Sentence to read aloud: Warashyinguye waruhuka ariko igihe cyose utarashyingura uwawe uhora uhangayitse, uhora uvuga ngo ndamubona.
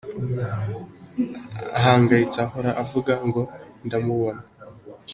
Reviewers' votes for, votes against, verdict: 1, 2, rejected